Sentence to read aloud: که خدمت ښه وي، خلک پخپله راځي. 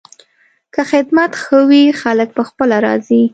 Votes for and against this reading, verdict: 2, 0, accepted